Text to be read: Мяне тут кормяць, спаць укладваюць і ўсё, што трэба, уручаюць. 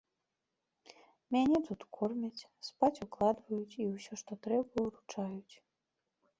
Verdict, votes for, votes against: rejected, 1, 2